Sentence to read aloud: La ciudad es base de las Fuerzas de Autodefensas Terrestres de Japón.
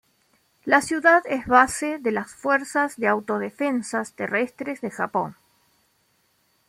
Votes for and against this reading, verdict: 2, 0, accepted